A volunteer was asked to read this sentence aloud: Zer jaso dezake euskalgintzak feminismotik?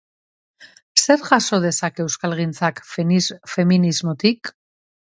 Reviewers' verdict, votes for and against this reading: rejected, 1, 2